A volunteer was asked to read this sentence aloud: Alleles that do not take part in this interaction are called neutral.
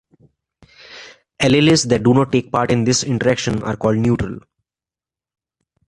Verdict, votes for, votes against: accepted, 2, 0